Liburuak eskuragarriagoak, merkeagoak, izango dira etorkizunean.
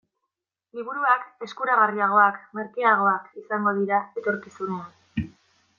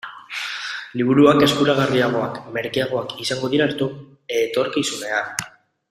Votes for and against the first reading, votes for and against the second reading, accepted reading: 2, 0, 0, 2, first